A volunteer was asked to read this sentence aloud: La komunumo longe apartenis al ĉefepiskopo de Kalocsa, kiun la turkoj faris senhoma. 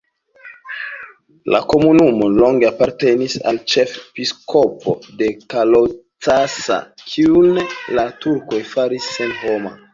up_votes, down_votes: 2, 0